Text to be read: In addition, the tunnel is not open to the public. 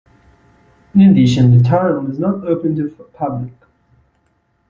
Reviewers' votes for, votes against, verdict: 0, 2, rejected